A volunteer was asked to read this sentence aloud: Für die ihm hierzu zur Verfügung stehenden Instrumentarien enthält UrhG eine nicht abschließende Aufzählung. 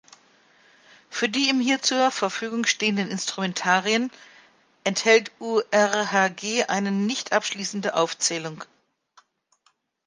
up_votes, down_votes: 1, 2